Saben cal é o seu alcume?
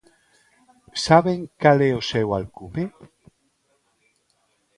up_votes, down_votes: 2, 1